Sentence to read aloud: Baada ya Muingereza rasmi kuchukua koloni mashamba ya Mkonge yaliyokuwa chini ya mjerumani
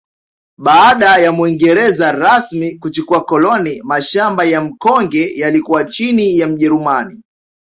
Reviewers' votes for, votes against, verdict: 2, 1, accepted